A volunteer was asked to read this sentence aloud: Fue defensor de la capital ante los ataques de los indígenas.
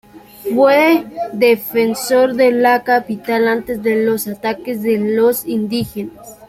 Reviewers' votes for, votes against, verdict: 0, 2, rejected